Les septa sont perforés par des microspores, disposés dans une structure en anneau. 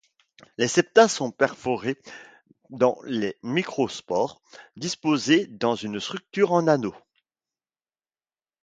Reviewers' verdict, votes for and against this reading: rejected, 1, 2